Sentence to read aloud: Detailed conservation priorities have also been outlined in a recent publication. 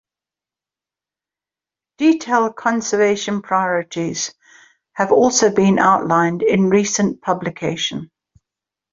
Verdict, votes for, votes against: accepted, 2, 0